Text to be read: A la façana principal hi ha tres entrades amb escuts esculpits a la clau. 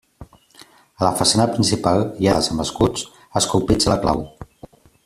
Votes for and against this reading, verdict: 1, 2, rejected